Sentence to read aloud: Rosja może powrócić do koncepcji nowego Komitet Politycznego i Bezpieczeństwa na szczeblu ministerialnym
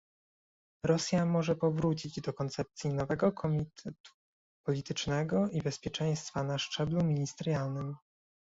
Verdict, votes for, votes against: rejected, 0, 2